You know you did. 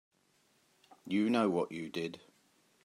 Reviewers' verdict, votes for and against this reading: rejected, 1, 2